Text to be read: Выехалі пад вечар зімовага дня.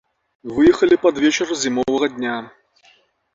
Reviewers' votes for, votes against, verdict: 1, 2, rejected